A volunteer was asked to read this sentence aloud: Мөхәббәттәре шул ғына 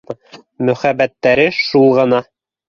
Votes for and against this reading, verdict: 3, 0, accepted